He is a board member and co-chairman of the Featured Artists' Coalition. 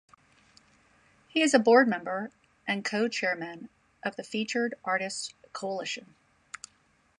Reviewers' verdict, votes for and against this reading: accepted, 2, 0